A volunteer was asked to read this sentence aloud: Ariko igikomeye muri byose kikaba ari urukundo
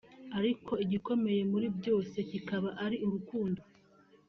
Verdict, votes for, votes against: accepted, 2, 0